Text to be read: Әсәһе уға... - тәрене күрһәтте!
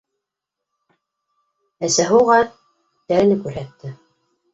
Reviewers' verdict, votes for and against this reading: rejected, 0, 2